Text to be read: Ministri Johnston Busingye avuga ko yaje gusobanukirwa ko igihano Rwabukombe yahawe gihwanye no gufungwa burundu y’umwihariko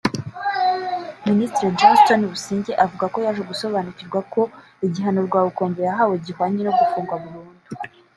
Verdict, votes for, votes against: rejected, 0, 2